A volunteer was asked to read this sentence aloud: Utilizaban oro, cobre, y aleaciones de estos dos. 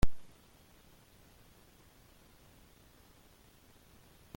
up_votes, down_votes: 0, 2